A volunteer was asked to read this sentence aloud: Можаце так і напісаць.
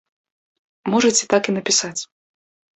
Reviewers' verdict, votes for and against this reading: accepted, 2, 0